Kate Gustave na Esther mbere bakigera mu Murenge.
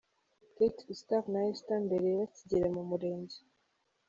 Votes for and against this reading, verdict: 2, 0, accepted